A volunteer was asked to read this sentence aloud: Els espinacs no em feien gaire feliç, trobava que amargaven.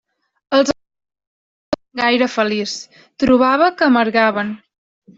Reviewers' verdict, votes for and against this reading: rejected, 0, 2